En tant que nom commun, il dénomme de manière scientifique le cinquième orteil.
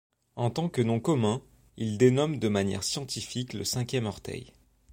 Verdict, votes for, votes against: accepted, 2, 1